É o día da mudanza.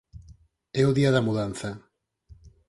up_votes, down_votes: 4, 0